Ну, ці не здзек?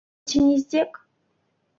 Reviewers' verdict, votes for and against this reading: rejected, 0, 2